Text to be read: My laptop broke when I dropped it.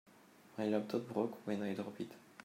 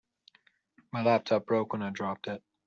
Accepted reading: second